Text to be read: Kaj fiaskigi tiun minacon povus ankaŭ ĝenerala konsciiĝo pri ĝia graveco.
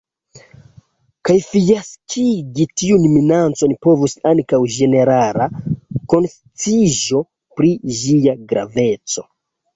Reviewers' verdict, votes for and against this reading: rejected, 0, 2